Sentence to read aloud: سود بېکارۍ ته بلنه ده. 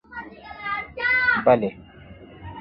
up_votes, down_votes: 0, 2